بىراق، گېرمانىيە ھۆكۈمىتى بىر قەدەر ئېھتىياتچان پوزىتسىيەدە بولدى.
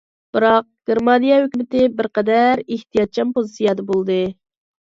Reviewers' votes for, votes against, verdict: 2, 0, accepted